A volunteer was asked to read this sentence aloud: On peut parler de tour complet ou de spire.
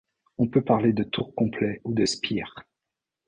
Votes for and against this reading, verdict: 2, 0, accepted